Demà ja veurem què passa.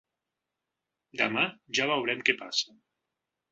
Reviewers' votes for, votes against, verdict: 6, 0, accepted